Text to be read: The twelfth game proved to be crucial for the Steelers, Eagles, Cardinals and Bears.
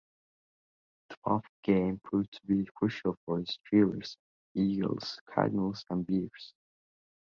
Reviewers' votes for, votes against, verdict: 2, 1, accepted